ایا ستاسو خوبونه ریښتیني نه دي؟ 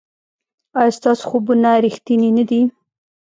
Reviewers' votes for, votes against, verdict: 1, 2, rejected